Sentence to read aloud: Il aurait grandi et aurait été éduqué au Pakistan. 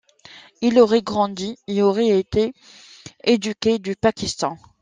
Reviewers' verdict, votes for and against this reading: rejected, 0, 2